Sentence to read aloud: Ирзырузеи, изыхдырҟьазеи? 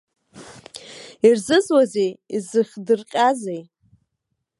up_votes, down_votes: 0, 2